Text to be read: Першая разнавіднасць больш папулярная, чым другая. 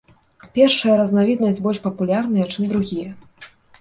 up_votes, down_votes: 0, 2